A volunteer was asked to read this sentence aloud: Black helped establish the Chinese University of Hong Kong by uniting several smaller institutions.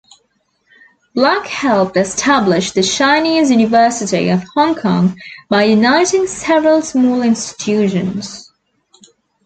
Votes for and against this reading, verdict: 2, 0, accepted